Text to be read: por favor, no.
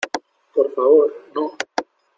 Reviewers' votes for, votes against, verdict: 2, 0, accepted